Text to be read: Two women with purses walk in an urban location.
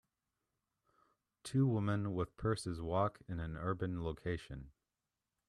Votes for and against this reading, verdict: 1, 2, rejected